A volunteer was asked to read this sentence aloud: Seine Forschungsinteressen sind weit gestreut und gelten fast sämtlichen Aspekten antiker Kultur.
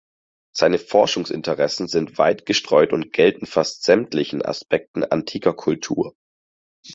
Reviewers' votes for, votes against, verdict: 4, 0, accepted